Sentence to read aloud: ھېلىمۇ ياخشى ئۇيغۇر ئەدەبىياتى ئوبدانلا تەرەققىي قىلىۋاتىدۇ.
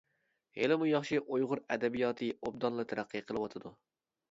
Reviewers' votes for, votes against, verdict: 2, 0, accepted